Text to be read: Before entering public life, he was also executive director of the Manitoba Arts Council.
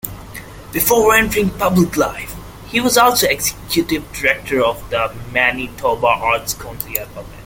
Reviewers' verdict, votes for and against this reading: accepted, 2, 0